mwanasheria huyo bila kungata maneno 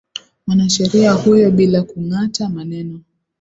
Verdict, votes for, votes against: accepted, 2, 0